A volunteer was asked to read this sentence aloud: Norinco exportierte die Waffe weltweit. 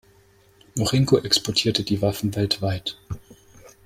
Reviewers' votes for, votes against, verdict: 1, 2, rejected